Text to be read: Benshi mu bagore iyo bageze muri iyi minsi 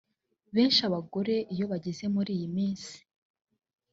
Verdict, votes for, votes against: rejected, 1, 2